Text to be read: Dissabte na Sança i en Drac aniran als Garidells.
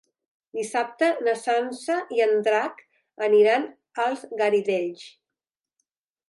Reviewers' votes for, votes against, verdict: 3, 0, accepted